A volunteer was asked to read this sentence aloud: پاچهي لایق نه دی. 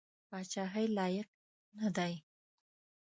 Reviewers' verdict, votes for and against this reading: accepted, 2, 0